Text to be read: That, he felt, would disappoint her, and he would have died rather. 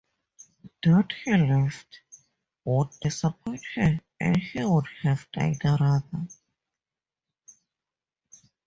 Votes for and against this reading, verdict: 2, 2, rejected